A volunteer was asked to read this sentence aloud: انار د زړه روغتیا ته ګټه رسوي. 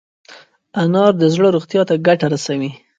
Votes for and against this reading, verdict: 2, 0, accepted